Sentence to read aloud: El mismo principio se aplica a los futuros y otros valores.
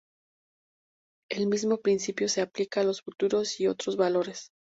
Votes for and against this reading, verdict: 2, 0, accepted